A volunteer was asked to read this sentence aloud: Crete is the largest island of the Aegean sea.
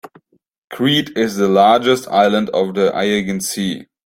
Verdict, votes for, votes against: rejected, 1, 2